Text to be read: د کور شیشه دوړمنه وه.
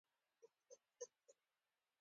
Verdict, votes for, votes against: accepted, 2, 1